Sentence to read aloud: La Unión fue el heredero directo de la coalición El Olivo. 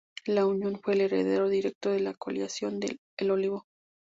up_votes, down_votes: 0, 2